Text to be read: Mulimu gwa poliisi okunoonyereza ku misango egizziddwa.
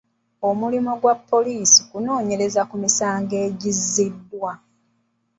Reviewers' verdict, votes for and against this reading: rejected, 1, 2